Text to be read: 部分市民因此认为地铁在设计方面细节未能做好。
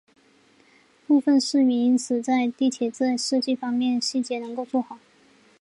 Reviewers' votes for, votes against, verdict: 0, 2, rejected